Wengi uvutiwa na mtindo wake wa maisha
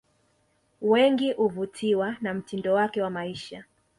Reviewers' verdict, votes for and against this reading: accepted, 2, 0